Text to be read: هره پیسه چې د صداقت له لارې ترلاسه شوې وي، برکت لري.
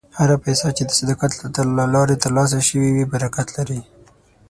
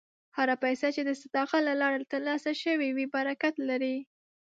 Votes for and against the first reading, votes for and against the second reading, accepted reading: 3, 6, 2, 0, second